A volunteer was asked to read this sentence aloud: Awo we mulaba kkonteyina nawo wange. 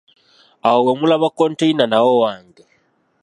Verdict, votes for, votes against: accepted, 2, 0